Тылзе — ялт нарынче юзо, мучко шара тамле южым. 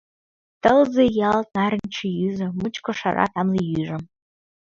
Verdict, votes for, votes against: rejected, 1, 2